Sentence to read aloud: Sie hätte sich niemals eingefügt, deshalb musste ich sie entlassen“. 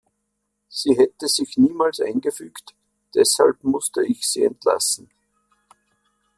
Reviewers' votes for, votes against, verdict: 2, 0, accepted